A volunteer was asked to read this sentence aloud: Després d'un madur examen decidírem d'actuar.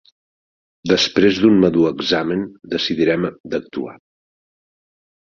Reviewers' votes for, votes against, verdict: 0, 2, rejected